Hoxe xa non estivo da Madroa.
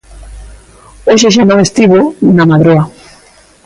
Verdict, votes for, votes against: rejected, 0, 2